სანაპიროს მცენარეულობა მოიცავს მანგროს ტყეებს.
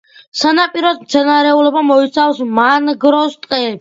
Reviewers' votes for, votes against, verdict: 2, 0, accepted